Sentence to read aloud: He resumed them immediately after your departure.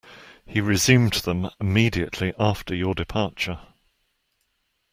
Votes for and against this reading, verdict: 2, 0, accepted